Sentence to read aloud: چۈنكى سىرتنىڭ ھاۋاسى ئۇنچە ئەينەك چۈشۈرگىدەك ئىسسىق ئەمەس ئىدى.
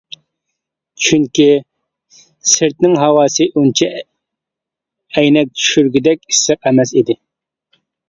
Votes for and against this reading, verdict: 0, 2, rejected